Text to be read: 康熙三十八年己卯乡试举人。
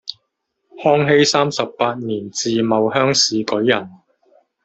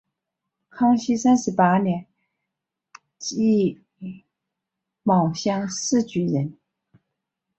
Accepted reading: second